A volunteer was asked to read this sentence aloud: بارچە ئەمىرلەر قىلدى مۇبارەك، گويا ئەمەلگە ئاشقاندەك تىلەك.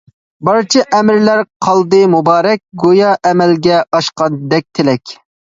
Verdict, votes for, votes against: rejected, 1, 2